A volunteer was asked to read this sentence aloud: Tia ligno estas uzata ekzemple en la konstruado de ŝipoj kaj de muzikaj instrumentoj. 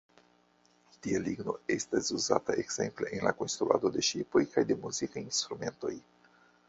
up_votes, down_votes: 2, 0